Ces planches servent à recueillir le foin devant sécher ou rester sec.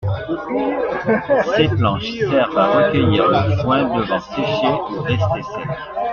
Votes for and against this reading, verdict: 0, 2, rejected